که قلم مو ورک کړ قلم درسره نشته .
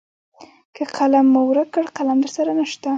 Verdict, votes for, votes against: accepted, 2, 0